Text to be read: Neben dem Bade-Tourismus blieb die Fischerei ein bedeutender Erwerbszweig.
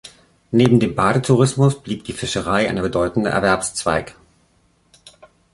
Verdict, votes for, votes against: rejected, 2, 3